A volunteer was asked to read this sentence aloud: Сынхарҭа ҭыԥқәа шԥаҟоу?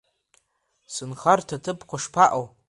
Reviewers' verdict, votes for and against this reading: accepted, 3, 1